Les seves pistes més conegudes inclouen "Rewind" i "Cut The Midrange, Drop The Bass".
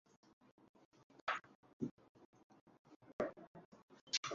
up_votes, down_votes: 0, 2